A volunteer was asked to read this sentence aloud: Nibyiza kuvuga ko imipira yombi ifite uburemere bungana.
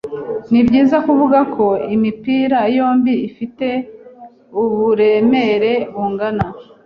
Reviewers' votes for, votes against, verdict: 2, 0, accepted